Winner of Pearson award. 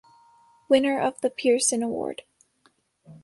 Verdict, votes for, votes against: rejected, 0, 2